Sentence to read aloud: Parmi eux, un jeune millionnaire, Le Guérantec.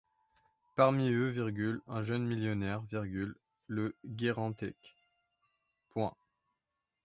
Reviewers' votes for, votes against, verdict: 0, 2, rejected